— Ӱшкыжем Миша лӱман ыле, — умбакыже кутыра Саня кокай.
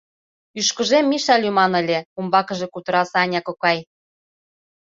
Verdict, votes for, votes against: accepted, 2, 0